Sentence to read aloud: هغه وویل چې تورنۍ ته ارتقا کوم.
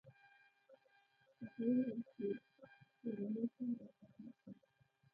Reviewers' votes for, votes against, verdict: 1, 2, rejected